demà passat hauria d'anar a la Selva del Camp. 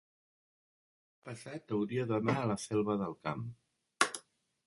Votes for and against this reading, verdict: 1, 2, rejected